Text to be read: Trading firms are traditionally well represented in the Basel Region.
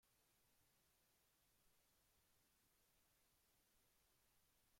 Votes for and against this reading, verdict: 0, 2, rejected